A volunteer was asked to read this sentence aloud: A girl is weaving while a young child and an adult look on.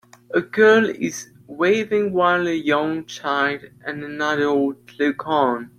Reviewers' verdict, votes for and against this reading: rejected, 1, 2